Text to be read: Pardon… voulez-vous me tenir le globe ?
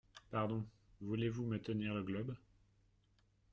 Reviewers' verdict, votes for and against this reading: rejected, 1, 2